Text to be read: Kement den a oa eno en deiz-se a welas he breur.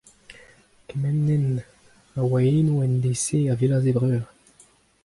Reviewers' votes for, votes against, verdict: 2, 0, accepted